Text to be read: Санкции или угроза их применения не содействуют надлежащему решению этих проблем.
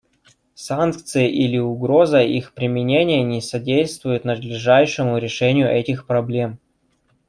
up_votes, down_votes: 1, 2